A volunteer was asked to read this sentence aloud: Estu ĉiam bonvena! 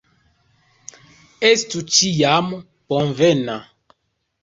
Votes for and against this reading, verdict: 2, 0, accepted